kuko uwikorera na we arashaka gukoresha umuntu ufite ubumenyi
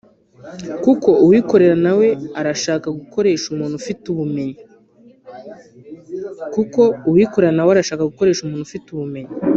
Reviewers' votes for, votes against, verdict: 0, 2, rejected